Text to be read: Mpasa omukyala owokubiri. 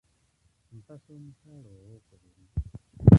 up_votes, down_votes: 0, 2